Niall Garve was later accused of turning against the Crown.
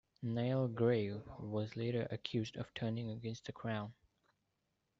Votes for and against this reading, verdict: 2, 1, accepted